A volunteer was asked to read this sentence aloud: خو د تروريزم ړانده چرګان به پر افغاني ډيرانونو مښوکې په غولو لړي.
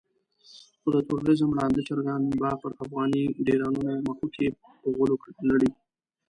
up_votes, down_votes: 1, 2